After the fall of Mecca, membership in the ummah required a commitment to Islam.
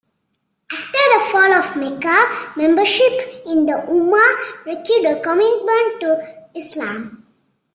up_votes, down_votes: 1, 2